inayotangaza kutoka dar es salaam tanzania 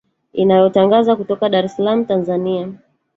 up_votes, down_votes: 1, 2